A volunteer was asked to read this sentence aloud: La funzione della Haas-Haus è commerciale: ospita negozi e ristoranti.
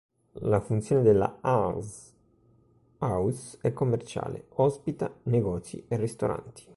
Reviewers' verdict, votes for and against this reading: rejected, 1, 2